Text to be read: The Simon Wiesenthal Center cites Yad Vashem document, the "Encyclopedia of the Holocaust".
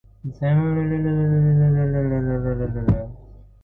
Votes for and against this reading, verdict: 0, 2, rejected